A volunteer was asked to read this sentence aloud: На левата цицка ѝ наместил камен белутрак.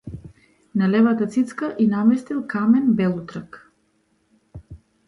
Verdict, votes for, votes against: accepted, 2, 0